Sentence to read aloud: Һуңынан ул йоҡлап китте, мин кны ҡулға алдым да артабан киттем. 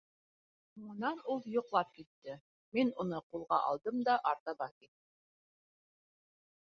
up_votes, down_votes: 2, 1